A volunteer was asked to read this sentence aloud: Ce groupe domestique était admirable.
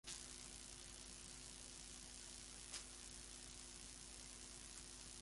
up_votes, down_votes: 0, 3